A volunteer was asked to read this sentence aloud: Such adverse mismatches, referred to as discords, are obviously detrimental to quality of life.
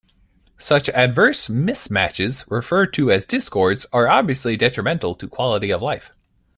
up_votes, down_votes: 2, 0